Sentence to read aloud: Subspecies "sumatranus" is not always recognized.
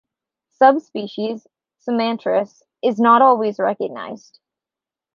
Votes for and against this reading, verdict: 2, 0, accepted